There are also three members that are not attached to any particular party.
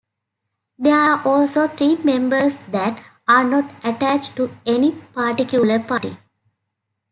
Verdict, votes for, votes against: rejected, 0, 2